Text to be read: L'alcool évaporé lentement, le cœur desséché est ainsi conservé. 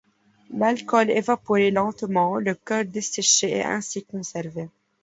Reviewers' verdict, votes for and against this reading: rejected, 1, 2